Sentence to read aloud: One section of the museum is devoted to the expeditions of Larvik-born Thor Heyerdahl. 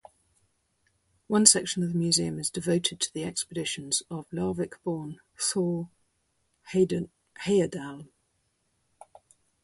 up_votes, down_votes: 0, 4